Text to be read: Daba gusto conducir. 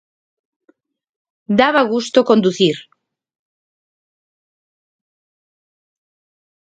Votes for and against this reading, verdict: 2, 0, accepted